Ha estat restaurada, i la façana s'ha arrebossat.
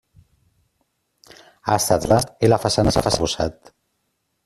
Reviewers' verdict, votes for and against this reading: rejected, 0, 2